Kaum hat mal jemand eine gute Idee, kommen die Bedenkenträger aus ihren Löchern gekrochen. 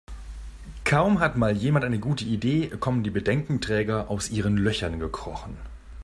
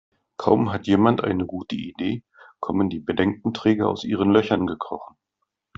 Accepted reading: first